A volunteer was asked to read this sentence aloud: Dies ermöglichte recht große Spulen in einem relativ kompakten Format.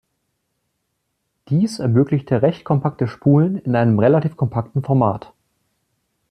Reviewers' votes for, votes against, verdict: 1, 2, rejected